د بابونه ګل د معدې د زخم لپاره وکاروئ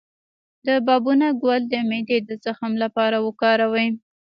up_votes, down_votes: 1, 2